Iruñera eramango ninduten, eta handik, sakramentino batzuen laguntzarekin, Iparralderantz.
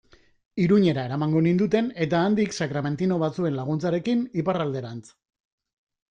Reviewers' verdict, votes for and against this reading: accepted, 2, 1